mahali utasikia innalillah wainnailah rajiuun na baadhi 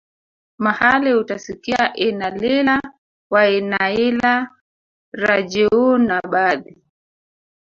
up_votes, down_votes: 1, 2